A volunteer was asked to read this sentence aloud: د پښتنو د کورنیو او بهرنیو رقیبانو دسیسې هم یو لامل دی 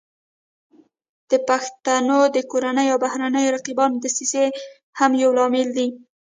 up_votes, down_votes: 2, 0